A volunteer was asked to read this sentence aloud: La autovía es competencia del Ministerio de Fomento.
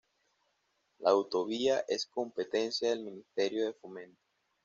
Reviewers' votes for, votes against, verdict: 2, 0, accepted